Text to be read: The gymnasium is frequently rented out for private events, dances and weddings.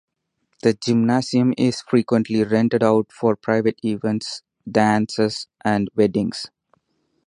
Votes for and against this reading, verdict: 4, 0, accepted